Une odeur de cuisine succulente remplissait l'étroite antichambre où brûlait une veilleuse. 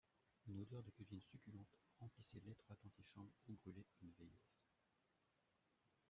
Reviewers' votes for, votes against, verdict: 0, 2, rejected